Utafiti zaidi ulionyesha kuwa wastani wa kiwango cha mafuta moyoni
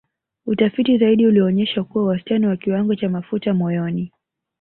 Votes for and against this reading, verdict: 1, 2, rejected